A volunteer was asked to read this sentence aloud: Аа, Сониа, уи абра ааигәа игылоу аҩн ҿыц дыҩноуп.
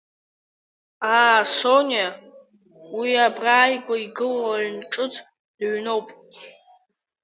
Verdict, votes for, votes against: rejected, 1, 2